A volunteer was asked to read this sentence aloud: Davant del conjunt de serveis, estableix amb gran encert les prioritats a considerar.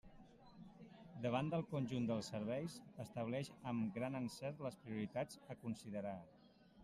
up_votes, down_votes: 0, 2